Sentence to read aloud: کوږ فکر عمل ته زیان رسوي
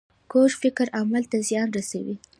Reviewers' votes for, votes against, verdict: 2, 0, accepted